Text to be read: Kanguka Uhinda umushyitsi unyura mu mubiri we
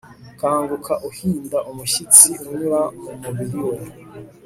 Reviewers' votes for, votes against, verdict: 2, 0, accepted